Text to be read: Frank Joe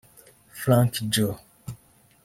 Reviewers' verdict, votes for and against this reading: rejected, 0, 2